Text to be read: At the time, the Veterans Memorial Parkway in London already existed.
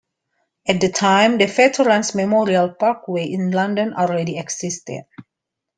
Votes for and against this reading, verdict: 2, 0, accepted